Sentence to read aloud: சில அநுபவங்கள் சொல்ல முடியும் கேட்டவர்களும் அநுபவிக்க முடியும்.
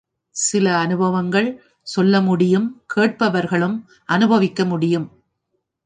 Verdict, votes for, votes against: accepted, 2, 0